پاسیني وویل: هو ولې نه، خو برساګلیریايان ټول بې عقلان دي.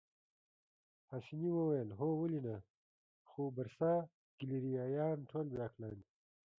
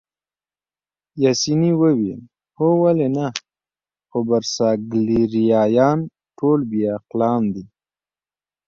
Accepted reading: second